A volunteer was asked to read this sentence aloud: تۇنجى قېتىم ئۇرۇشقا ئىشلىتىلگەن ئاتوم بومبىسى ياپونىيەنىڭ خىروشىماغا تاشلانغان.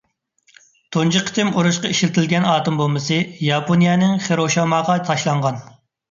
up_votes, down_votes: 1, 2